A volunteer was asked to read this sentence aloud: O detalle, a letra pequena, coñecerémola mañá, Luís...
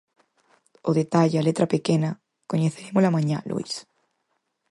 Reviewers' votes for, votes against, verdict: 4, 0, accepted